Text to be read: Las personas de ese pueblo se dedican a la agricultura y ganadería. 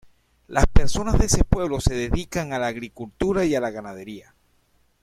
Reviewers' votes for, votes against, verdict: 0, 2, rejected